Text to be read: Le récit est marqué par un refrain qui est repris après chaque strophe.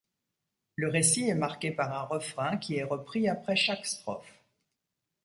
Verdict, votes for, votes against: accepted, 2, 0